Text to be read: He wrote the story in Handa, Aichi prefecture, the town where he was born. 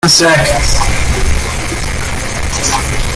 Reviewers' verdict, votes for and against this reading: rejected, 0, 2